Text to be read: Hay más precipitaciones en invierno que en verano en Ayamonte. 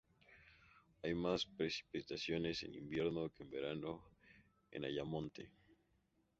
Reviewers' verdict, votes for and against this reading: accepted, 2, 0